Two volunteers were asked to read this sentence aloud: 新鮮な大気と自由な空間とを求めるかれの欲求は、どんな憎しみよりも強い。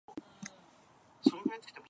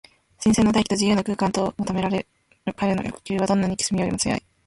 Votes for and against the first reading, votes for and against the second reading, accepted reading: 0, 2, 3, 2, second